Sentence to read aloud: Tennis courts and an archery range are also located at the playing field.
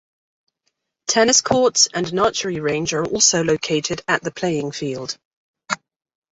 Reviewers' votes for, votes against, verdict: 2, 0, accepted